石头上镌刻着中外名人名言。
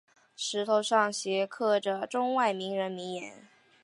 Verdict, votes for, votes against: accepted, 5, 1